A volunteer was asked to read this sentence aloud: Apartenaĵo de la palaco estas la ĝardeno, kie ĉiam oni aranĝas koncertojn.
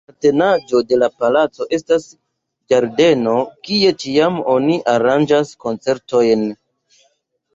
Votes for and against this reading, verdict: 1, 2, rejected